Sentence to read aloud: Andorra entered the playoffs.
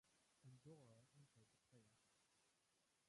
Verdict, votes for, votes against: rejected, 0, 2